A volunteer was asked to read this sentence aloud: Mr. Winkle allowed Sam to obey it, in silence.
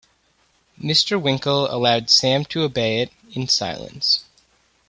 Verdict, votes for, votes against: accepted, 2, 0